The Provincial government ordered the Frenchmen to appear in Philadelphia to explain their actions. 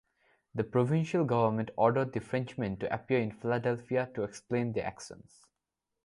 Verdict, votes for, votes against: rejected, 0, 2